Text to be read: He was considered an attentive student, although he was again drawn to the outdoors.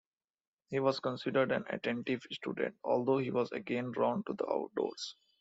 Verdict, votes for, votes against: accepted, 2, 0